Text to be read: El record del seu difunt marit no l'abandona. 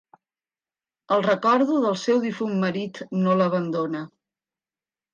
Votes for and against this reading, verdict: 1, 3, rejected